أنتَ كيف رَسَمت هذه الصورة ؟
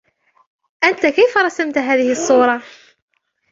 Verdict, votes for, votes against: accepted, 2, 1